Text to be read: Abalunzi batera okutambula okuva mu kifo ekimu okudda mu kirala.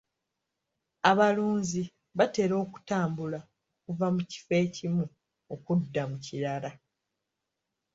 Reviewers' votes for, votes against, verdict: 1, 2, rejected